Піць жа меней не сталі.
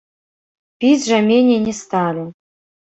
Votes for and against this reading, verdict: 1, 2, rejected